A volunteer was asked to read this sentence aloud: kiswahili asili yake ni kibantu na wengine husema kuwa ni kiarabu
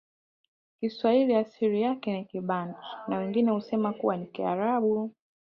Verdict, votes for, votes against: accepted, 2, 0